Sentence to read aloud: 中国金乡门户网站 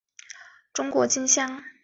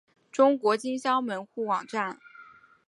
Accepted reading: second